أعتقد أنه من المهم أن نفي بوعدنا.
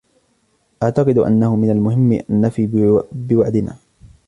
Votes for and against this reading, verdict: 0, 2, rejected